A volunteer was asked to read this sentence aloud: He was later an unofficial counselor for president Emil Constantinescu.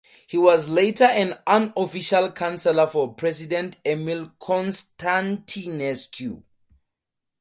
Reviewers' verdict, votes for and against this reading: accepted, 4, 0